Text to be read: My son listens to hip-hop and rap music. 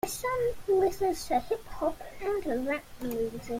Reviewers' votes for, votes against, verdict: 1, 2, rejected